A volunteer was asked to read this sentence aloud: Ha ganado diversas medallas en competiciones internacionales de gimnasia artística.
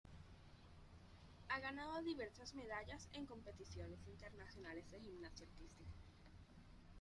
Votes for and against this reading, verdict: 0, 2, rejected